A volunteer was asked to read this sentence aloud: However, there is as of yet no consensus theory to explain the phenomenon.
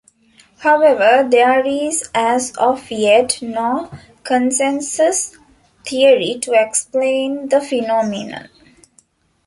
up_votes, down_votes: 1, 2